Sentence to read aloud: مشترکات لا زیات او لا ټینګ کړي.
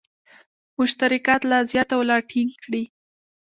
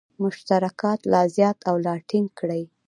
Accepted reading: first